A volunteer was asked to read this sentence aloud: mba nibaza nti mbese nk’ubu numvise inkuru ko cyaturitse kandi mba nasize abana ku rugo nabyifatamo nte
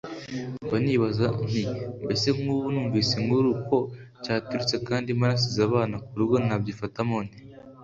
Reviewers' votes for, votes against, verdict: 2, 0, accepted